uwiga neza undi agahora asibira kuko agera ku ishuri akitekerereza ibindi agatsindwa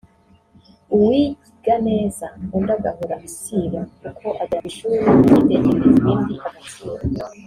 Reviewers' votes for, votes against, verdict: 0, 2, rejected